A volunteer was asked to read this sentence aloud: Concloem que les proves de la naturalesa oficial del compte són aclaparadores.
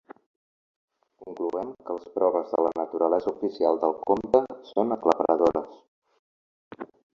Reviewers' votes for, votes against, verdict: 0, 2, rejected